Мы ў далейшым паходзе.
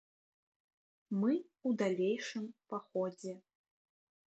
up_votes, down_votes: 2, 0